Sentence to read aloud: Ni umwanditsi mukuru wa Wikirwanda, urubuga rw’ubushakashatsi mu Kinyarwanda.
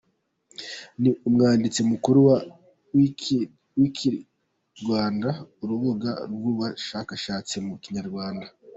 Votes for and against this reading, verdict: 0, 2, rejected